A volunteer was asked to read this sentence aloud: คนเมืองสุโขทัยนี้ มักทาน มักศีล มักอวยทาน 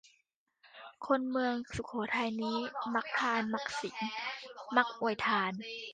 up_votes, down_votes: 2, 1